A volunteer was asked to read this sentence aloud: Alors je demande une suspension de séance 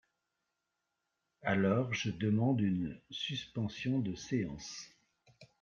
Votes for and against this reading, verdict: 3, 2, accepted